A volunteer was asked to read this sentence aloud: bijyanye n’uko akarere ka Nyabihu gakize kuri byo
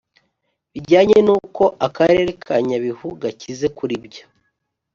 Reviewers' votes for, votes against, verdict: 4, 0, accepted